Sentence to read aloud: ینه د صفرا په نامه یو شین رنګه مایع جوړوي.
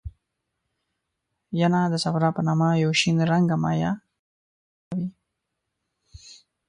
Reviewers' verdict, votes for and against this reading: rejected, 1, 2